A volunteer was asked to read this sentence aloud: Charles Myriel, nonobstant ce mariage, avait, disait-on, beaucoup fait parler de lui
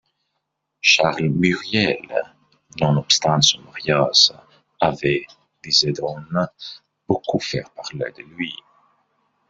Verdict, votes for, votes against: rejected, 0, 2